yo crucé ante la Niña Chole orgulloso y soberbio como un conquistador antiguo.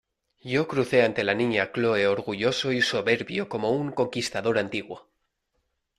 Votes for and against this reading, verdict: 1, 2, rejected